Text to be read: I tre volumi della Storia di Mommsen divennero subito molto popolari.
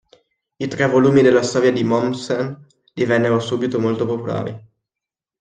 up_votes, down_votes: 2, 0